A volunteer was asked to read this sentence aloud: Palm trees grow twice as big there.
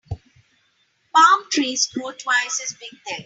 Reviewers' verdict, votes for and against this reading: accepted, 2, 1